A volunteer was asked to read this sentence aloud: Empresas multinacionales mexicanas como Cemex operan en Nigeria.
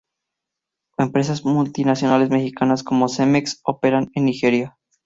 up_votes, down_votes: 6, 0